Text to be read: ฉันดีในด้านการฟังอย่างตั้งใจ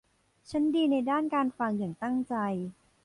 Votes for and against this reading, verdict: 1, 2, rejected